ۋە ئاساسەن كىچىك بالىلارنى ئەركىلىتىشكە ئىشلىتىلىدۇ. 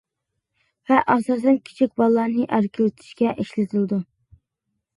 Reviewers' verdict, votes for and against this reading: accepted, 2, 0